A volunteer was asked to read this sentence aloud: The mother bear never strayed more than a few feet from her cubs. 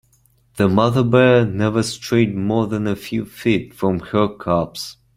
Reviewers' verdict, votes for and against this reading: accepted, 2, 0